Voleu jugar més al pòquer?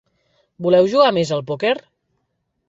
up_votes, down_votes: 1, 2